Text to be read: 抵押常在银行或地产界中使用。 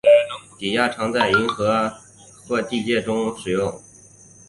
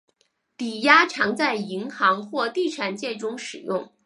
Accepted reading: second